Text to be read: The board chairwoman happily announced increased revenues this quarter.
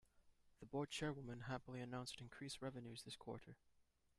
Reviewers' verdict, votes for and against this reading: rejected, 0, 2